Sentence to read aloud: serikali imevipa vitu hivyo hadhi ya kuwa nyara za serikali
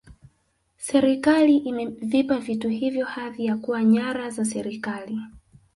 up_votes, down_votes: 2, 0